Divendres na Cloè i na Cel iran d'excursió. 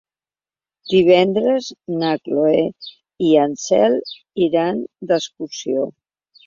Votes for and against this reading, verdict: 0, 2, rejected